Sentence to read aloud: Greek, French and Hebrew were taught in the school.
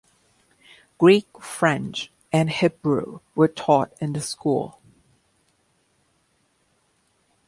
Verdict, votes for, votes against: accepted, 2, 0